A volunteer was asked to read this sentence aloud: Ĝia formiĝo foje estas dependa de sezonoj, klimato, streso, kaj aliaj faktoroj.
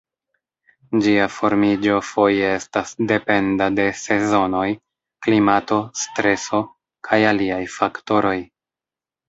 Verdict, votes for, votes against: rejected, 0, 2